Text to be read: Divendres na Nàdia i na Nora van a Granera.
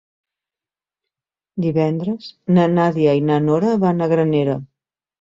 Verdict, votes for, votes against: accepted, 3, 0